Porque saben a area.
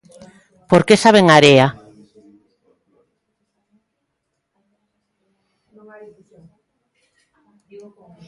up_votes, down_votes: 0, 2